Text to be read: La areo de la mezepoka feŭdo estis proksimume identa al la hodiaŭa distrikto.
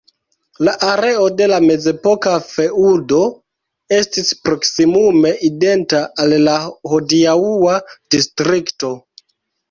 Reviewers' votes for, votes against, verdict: 0, 2, rejected